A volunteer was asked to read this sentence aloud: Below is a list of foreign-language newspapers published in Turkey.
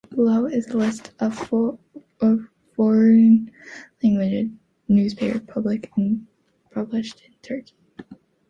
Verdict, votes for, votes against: rejected, 0, 2